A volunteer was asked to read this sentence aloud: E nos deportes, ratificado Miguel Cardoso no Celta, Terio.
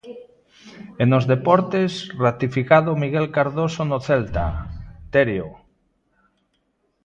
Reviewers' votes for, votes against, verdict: 2, 0, accepted